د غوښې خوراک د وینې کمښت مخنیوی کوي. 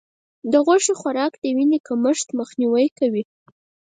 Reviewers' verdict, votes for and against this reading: rejected, 2, 4